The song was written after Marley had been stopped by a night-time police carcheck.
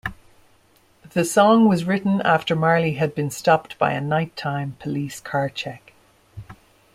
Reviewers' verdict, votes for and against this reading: accepted, 2, 0